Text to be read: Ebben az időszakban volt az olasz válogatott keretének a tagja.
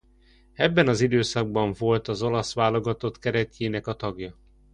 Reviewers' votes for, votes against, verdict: 1, 2, rejected